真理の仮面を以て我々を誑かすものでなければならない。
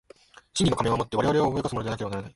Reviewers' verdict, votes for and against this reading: rejected, 0, 2